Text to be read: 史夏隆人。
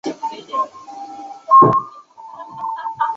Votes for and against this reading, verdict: 1, 2, rejected